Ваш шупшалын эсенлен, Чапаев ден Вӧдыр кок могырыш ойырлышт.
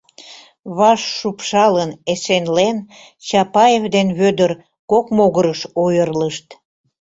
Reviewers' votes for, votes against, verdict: 2, 0, accepted